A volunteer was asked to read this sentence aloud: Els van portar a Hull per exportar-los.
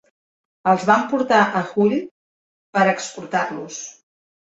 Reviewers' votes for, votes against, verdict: 1, 2, rejected